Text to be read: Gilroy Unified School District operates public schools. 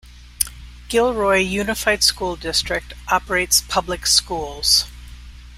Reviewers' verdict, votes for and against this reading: accepted, 2, 0